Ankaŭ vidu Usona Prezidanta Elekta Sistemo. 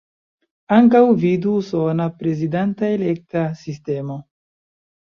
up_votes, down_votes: 2, 1